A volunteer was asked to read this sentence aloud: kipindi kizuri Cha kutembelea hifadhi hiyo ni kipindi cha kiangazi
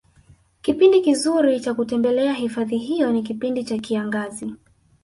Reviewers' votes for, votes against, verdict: 0, 2, rejected